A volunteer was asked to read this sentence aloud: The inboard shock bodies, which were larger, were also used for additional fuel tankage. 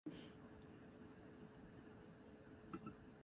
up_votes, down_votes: 0, 2